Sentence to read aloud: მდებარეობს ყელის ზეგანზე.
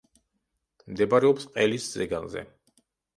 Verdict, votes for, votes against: accepted, 2, 0